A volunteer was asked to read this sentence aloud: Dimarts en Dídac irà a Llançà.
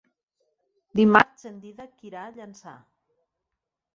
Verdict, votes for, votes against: rejected, 2, 4